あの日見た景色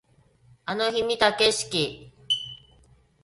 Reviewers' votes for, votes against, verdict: 2, 0, accepted